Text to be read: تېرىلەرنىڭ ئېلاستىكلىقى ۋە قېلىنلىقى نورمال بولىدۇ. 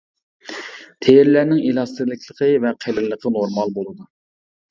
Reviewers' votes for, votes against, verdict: 0, 2, rejected